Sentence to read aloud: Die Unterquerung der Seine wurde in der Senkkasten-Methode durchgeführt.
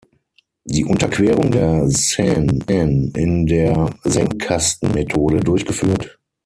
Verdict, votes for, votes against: rejected, 0, 6